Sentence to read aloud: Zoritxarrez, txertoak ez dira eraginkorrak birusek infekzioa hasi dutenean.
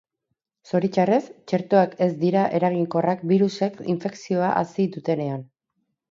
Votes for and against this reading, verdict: 2, 0, accepted